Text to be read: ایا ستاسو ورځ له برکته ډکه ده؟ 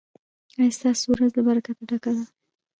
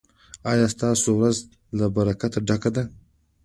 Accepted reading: second